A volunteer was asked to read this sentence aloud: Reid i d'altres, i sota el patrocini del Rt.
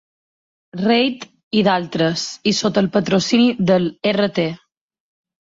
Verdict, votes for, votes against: accepted, 2, 0